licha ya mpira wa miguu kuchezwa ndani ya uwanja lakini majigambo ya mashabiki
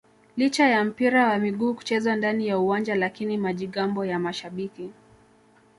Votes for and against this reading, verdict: 2, 0, accepted